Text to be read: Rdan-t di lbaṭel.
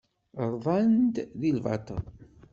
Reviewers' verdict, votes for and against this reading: rejected, 1, 2